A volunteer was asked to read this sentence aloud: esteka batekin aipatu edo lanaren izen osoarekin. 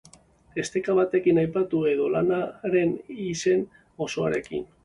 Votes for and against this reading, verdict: 3, 0, accepted